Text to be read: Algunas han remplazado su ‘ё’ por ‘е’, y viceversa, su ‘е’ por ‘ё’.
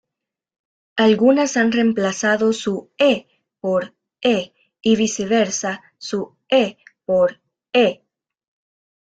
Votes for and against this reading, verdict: 2, 0, accepted